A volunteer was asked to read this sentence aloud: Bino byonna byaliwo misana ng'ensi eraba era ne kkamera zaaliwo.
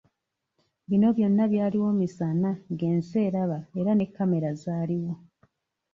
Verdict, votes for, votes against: accepted, 2, 0